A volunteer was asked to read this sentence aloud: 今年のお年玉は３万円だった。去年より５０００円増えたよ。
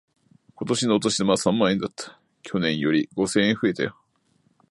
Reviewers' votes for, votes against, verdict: 0, 2, rejected